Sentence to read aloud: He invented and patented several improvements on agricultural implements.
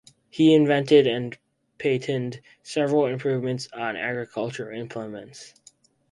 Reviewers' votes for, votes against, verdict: 4, 0, accepted